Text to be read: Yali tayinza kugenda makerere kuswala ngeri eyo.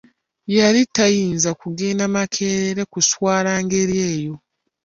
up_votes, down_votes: 2, 1